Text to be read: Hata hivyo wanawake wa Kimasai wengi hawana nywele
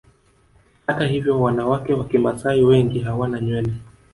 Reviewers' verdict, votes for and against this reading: accepted, 2, 0